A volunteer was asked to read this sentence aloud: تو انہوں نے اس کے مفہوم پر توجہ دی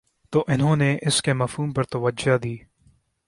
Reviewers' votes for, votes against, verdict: 2, 0, accepted